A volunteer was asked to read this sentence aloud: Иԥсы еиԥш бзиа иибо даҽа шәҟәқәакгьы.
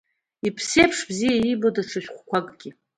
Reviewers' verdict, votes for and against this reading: accepted, 2, 0